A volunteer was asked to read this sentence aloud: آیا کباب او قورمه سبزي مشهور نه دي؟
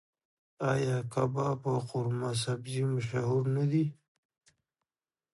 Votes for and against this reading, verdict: 1, 2, rejected